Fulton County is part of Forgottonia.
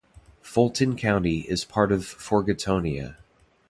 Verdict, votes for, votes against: accepted, 2, 1